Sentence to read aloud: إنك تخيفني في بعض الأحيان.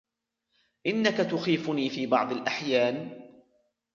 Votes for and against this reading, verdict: 1, 2, rejected